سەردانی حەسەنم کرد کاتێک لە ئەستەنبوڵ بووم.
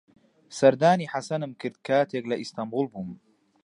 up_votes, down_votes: 1, 2